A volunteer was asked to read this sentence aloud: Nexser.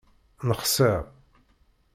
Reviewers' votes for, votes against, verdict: 0, 2, rejected